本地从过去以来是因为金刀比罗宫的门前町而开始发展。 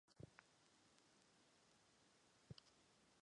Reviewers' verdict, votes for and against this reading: rejected, 0, 2